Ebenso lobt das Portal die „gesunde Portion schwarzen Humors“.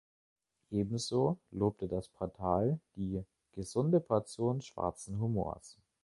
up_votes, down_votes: 0, 2